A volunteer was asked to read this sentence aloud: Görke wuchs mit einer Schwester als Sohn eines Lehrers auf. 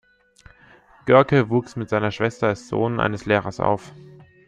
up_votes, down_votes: 0, 3